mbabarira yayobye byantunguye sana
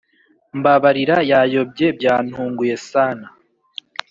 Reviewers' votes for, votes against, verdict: 2, 0, accepted